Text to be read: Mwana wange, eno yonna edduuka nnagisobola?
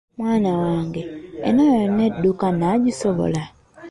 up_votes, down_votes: 2, 0